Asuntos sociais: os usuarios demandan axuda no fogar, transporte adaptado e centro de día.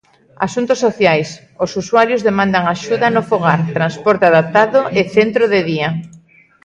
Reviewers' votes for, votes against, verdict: 2, 0, accepted